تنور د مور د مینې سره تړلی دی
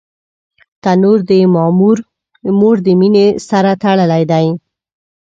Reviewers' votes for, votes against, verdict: 1, 2, rejected